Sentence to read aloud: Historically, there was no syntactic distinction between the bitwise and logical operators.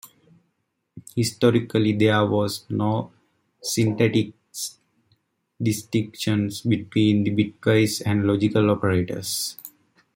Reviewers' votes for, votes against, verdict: 0, 2, rejected